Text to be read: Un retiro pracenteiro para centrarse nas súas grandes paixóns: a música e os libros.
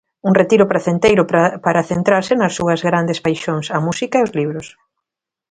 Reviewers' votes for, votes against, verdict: 0, 2, rejected